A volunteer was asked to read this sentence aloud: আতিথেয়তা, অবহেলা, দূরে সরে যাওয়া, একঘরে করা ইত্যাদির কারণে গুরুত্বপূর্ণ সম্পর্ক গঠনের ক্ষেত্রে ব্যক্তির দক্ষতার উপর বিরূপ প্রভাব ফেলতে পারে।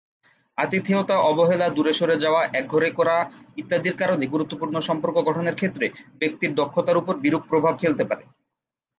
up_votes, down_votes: 4, 2